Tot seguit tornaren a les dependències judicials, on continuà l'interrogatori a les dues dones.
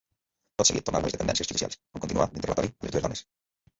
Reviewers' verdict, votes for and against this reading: rejected, 0, 3